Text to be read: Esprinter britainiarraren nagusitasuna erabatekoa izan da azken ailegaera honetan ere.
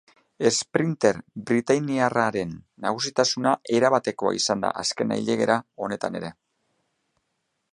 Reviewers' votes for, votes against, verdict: 2, 0, accepted